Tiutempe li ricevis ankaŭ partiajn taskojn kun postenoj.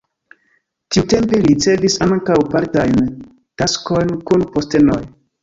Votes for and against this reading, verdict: 2, 0, accepted